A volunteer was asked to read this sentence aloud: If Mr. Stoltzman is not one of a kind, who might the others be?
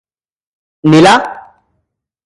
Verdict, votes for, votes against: rejected, 0, 2